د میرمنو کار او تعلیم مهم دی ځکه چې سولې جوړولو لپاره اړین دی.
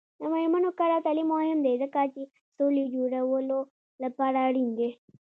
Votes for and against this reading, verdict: 2, 0, accepted